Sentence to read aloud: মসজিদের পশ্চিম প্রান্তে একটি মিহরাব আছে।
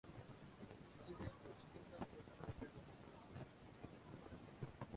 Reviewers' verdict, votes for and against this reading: rejected, 0, 2